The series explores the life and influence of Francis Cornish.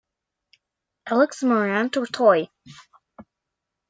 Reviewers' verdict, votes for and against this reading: rejected, 0, 2